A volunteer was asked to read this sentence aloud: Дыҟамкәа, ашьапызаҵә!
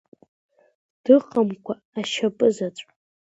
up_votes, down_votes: 2, 0